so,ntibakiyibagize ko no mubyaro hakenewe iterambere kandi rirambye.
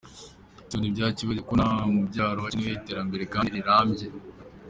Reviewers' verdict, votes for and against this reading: accepted, 2, 1